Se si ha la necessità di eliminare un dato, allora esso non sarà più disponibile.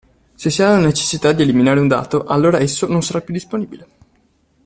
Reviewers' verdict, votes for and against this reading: accepted, 2, 0